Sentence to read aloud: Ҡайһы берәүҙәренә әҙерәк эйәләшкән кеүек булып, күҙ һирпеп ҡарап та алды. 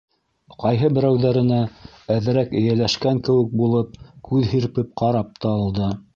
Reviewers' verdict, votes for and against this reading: rejected, 0, 2